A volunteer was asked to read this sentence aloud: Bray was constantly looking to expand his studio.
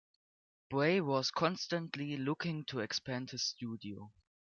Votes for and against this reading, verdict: 0, 2, rejected